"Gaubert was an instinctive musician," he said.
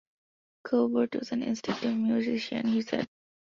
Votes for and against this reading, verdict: 2, 0, accepted